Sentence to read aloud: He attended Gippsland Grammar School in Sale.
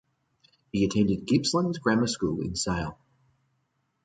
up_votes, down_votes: 2, 0